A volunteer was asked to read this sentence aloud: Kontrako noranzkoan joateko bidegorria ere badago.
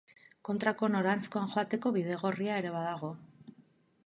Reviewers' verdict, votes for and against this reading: rejected, 2, 2